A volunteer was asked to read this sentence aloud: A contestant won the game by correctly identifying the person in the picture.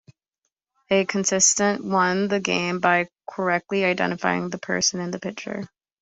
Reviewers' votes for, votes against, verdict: 2, 0, accepted